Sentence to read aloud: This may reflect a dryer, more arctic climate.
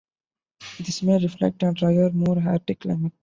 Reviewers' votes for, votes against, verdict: 0, 2, rejected